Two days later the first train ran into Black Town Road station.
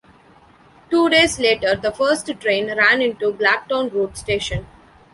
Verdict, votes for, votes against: accepted, 2, 0